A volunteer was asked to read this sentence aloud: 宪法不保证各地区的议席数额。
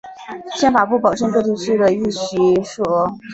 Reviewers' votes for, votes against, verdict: 2, 3, rejected